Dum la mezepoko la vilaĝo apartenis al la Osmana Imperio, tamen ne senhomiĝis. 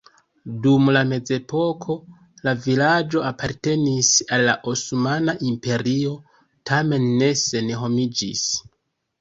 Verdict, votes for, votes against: rejected, 0, 2